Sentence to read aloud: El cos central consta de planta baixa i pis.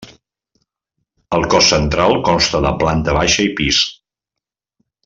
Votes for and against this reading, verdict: 3, 0, accepted